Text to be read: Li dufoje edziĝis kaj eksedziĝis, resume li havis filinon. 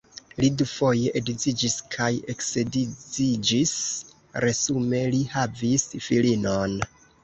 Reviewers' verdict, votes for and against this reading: rejected, 1, 2